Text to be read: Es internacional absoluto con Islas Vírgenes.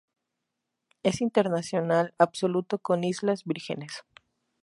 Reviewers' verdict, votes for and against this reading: accepted, 2, 0